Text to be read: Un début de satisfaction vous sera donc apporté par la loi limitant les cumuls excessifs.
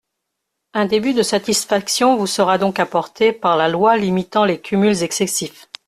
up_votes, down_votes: 2, 0